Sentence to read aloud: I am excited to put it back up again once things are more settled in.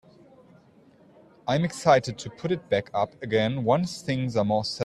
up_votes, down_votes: 1, 2